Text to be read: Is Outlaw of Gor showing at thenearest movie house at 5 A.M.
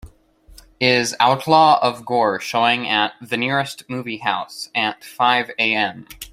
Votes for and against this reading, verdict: 0, 2, rejected